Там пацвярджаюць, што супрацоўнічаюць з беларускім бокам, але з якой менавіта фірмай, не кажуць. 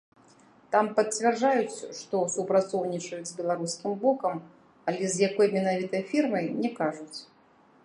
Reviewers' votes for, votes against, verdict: 1, 2, rejected